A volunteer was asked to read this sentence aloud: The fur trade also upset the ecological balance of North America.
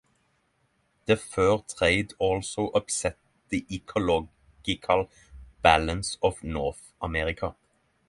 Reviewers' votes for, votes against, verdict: 6, 0, accepted